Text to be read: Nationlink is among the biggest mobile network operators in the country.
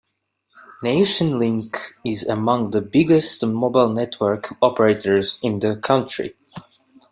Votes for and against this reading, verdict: 2, 0, accepted